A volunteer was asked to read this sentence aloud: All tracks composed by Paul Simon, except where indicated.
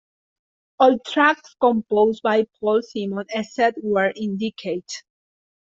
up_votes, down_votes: 0, 2